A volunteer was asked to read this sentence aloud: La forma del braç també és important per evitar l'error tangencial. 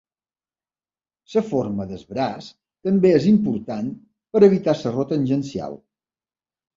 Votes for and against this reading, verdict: 0, 2, rejected